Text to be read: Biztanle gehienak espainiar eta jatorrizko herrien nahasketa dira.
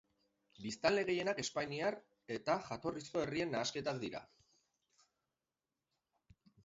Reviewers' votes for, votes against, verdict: 0, 4, rejected